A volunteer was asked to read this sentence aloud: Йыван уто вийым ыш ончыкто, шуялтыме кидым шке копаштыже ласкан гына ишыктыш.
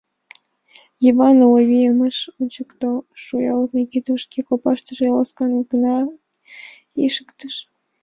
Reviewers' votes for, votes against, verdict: 0, 2, rejected